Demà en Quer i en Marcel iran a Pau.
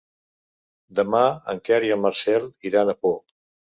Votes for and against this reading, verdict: 1, 2, rejected